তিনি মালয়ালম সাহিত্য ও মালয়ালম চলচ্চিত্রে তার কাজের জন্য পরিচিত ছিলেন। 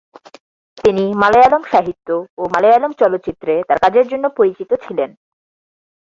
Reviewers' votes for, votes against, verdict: 2, 0, accepted